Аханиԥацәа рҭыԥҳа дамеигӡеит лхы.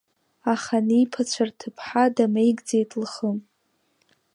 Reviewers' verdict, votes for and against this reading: accepted, 2, 1